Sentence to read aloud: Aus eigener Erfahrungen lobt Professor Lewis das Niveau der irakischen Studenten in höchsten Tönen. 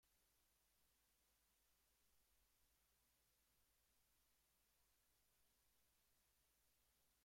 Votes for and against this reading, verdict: 0, 2, rejected